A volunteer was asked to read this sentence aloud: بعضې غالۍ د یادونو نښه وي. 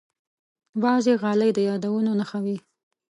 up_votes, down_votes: 1, 2